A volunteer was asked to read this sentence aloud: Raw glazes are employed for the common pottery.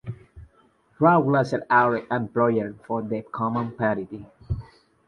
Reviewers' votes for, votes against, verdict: 0, 2, rejected